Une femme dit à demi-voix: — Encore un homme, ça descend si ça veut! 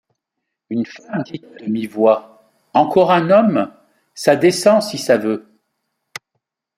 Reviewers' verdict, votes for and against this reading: rejected, 0, 2